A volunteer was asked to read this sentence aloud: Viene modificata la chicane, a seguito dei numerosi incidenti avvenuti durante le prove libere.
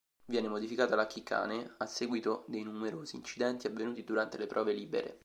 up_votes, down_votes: 1, 3